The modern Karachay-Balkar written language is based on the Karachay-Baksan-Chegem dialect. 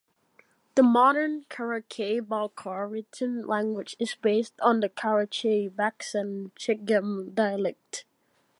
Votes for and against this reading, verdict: 1, 2, rejected